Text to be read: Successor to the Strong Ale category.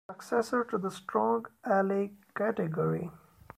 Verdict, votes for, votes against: rejected, 0, 2